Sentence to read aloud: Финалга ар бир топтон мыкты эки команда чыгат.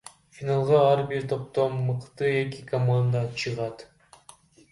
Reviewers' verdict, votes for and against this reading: rejected, 1, 2